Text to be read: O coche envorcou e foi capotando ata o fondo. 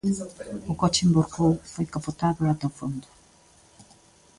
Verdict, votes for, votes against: rejected, 0, 3